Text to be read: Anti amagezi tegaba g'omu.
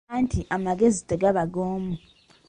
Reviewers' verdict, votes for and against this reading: accepted, 2, 0